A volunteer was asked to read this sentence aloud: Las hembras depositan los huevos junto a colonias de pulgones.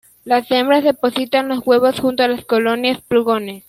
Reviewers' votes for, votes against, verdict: 0, 2, rejected